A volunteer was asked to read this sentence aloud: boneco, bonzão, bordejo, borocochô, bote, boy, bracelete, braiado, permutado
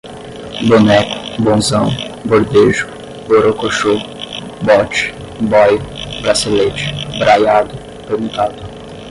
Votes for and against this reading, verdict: 0, 5, rejected